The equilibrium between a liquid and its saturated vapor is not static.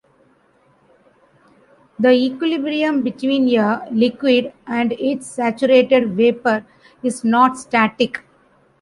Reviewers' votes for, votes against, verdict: 1, 2, rejected